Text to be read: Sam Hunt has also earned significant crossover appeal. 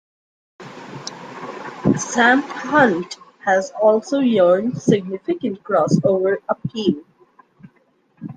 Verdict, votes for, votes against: rejected, 0, 2